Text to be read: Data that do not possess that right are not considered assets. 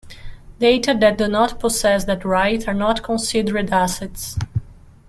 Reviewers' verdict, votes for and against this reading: rejected, 1, 2